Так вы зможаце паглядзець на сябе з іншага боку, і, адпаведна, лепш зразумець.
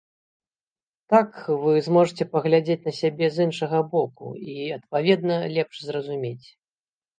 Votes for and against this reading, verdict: 2, 0, accepted